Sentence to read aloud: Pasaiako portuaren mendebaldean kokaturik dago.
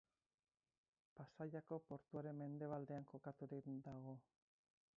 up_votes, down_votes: 2, 0